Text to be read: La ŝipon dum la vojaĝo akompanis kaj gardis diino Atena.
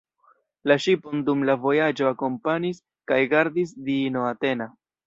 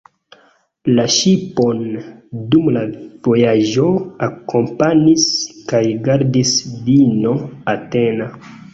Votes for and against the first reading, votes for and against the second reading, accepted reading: 0, 2, 2, 0, second